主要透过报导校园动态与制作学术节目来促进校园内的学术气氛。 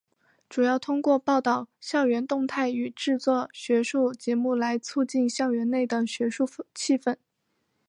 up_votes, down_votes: 2, 0